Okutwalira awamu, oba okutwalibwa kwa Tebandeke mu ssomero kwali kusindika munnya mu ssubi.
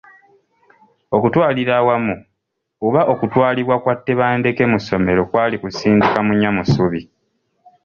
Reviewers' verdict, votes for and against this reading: accepted, 2, 0